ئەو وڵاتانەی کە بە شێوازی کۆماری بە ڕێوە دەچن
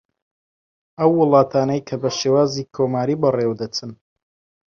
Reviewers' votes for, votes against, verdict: 4, 0, accepted